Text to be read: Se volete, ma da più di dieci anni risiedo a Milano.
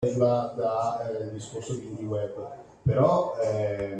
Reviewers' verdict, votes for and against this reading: rejected, 0, 2